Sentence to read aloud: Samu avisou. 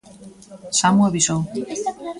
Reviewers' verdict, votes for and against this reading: rejected, 1, 2